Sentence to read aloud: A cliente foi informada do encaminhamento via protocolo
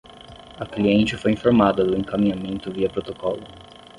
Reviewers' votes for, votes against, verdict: 10, 0, accepted